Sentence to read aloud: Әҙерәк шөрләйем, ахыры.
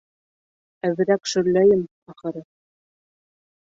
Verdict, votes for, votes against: accepted, 2, 1